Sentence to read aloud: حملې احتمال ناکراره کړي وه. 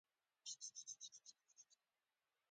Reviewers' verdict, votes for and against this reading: rejected, 1, 2